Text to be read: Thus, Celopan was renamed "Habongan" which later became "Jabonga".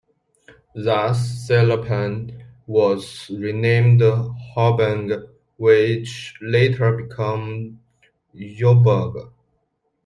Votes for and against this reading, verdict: 2, 0, accepted